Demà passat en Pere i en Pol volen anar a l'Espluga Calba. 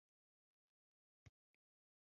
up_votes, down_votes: 1, 2